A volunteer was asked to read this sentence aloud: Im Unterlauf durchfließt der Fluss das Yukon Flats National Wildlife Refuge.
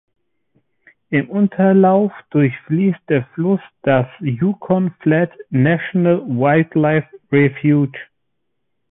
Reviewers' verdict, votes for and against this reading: accepted, 2, 0